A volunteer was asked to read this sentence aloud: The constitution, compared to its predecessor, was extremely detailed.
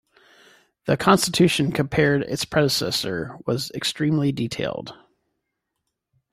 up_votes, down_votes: 0, 2